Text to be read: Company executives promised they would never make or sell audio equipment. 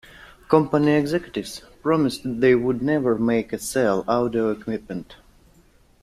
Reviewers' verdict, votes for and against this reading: accepted, 2, 0